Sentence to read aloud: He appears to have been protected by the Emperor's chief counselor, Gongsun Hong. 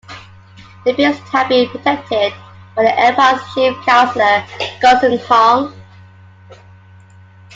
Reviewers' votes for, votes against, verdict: 2, 1, accepted